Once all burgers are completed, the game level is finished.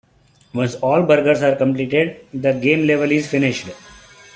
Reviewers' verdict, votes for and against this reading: accepted, 2, 0